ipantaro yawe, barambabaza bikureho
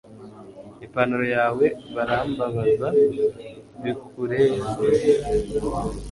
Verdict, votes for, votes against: accepted, 2, 0